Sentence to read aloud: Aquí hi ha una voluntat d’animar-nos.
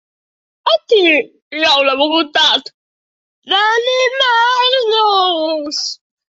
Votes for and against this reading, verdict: 1, 2, rejected